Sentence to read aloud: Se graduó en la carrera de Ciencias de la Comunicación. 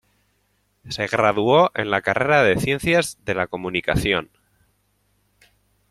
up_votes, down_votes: 2, 0